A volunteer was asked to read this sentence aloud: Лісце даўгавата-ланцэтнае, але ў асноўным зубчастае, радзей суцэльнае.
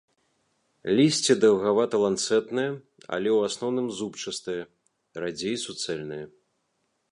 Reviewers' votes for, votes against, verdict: 2, 1, accepted